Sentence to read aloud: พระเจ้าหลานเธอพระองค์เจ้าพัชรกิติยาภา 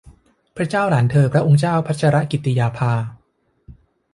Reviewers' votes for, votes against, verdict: 2, 0, accepted